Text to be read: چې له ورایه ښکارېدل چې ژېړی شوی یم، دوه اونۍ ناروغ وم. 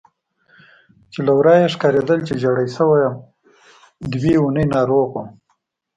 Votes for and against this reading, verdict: 2, 0, accepted